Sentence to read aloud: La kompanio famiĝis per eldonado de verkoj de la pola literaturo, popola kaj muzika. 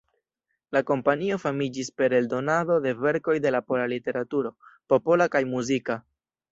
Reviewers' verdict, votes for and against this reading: rejected, 1, 2